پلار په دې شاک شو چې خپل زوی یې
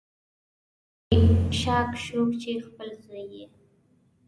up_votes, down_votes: 0, 2